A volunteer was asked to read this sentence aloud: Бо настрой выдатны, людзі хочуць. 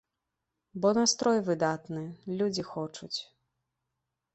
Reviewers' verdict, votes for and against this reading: accepted, 3, 0